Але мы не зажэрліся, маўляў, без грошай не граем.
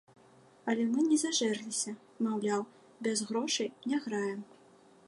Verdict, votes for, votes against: accepted, 2, 0